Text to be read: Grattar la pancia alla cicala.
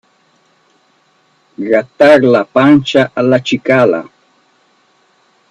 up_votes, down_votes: 2, 0